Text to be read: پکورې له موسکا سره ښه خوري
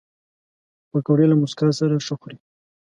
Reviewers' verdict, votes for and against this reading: accepted, 2, 0